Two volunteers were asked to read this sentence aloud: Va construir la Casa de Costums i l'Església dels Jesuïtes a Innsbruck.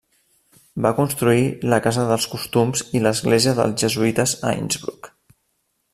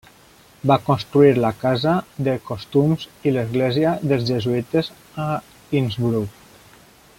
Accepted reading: second